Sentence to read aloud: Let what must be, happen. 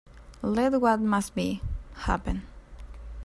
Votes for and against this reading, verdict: 2, 0, accepted